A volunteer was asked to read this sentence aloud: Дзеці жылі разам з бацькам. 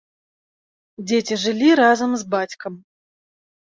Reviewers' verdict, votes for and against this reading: accepted, 2, 0